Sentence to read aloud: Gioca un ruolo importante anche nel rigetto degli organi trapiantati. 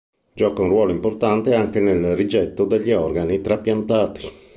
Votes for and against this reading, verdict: 2, 1, accepted